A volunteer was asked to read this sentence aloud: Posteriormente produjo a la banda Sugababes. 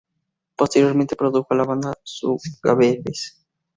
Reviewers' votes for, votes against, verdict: 2, 2, rejected